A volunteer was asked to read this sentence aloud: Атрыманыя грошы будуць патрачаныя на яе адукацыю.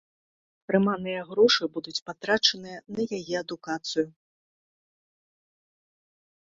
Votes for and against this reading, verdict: 1, 2, rejected